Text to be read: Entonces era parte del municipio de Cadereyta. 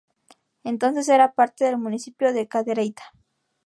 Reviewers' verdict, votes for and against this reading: rejected, 0, 2